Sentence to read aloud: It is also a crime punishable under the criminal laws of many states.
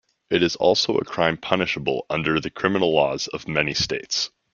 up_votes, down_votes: 2, 0